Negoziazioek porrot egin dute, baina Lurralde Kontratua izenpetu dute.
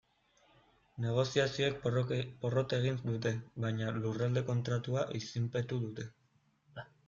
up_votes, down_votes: 0, 2